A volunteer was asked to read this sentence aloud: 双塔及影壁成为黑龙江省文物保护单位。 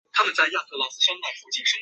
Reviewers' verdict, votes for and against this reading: rejected, 0, 3